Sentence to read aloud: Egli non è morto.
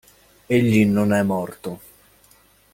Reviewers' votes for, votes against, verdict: 2, 0, accepted